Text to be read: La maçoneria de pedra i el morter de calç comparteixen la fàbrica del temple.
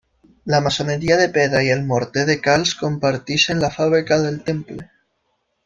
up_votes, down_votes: 2, 0